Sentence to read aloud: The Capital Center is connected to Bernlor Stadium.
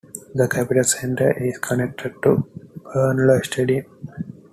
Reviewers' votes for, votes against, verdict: 2, 1, accepted